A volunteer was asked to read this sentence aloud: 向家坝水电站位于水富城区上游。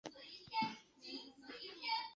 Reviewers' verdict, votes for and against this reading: rejected, 2, 4